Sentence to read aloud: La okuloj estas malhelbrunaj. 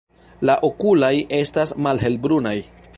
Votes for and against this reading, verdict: 0, 2, rejected